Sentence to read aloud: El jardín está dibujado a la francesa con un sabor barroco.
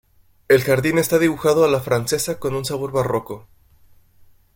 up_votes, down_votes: 2, 0